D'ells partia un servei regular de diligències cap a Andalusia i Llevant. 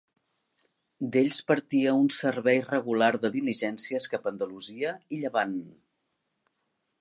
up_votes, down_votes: 3, 0